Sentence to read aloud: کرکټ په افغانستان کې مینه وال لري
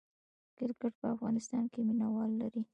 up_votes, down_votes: 2, 1